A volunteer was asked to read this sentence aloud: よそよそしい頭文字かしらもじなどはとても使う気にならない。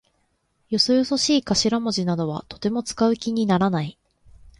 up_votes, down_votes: 1, 2